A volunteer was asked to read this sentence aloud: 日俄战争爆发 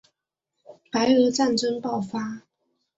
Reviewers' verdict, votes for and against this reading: rejected, 0, 4